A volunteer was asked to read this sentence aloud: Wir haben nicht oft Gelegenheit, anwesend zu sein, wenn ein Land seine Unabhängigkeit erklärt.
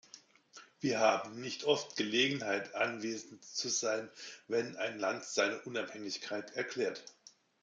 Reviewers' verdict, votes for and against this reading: accepted, 2, 0